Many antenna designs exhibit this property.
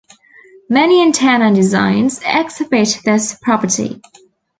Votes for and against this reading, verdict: 1, 2, rejected